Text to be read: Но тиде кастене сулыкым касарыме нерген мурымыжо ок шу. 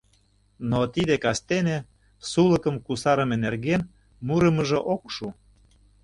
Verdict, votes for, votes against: rejected, 0, 2